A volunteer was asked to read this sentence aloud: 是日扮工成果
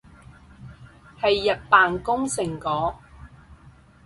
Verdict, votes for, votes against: rejected, 2, 4